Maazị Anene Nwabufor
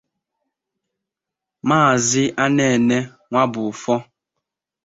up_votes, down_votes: 2, 0